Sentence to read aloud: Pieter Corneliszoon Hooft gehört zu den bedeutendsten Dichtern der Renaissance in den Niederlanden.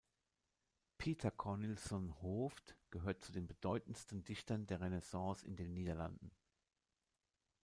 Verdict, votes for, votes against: accepted, 2, 1